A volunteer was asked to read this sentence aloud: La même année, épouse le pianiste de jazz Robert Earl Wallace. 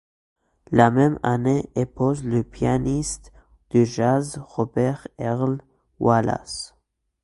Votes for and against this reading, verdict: 2, 1, accepted